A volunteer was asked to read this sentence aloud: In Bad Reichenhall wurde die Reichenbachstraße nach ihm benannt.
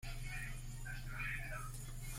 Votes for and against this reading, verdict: 0, 2, rejected